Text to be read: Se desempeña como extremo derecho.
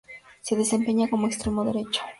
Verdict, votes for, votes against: accepted, 4, 0